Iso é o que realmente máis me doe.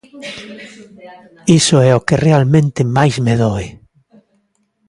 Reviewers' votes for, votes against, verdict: 2, 0, accepted